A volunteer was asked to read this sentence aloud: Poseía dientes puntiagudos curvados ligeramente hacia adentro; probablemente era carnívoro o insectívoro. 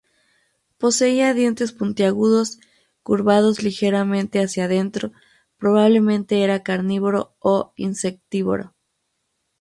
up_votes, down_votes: 4, 0